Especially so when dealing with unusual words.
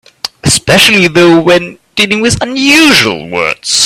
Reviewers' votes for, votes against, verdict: 1, 2, rejected